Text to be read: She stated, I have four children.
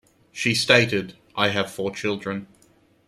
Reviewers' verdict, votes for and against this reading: accepted, 2, 0